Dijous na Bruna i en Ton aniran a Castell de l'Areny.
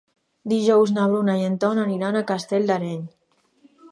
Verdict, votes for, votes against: rejected, 0, 2